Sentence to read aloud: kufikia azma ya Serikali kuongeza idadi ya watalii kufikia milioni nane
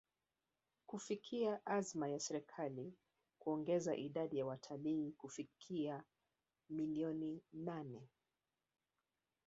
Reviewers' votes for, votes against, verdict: 1, 2, rejected